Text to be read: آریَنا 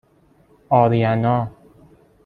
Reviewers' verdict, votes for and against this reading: accepted, 2, 0